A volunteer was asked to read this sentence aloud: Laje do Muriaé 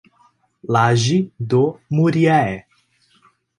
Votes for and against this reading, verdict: 2, 0, accepted